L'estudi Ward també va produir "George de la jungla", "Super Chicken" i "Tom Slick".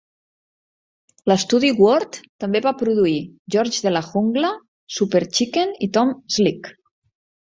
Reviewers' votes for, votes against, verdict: 2, 1, accepted